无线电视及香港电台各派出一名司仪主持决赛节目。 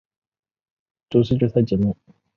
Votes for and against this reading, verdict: 0, 4, rejected